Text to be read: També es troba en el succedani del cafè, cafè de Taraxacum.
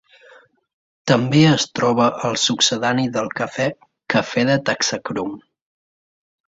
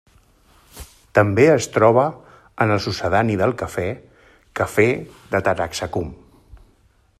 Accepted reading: second